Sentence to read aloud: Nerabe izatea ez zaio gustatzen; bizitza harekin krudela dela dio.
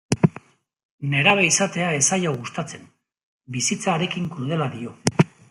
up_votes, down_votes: 1, 2